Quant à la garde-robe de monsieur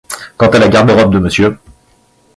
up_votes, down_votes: 2, 0